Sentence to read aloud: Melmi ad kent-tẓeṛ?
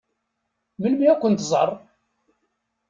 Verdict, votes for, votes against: accepted, 2, 0